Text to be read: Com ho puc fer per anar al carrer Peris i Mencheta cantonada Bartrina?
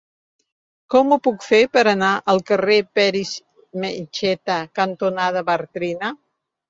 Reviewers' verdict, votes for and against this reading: rejected, 1, 2